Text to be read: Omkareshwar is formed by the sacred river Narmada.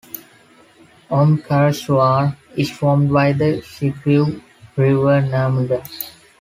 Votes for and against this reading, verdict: 0, 2, rejected